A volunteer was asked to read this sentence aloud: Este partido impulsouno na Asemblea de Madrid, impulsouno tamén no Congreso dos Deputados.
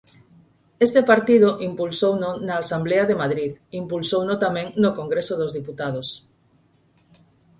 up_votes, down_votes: 0, 4